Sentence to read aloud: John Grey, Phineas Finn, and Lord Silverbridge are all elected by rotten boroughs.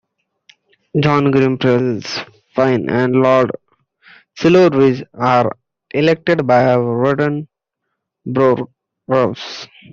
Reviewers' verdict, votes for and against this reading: rejected, 0, 2